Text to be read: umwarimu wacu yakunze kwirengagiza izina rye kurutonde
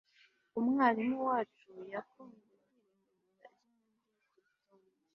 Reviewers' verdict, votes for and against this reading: rejected, 1, 2